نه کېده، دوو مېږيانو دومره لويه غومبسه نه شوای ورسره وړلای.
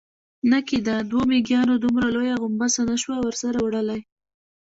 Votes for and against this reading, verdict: 2, 0, accepted